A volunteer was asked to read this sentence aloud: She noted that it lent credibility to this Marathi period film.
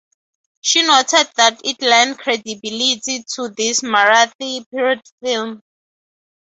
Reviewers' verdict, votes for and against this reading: accepted, 2, 0